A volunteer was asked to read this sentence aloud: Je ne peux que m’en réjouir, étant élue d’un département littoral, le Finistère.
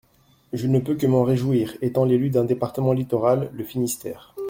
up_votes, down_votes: 1, 2